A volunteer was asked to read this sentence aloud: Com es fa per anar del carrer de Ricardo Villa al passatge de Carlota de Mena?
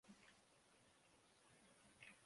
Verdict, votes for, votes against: rejected, 0, 3